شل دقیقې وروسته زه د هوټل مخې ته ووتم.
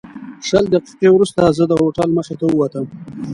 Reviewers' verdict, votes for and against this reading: accepted, 2, 0